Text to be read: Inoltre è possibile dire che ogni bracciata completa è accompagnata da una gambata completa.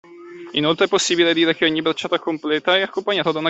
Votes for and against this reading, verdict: 0, 2, rejected